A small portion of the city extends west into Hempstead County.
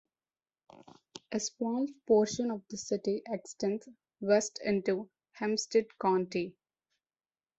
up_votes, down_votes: 2, 0